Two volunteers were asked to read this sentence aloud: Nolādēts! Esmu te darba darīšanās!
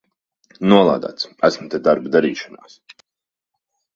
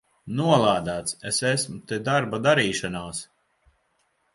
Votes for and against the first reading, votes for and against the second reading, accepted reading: 2, 0, 1, 2, first